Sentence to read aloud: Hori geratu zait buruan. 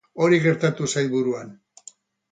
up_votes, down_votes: 0, 4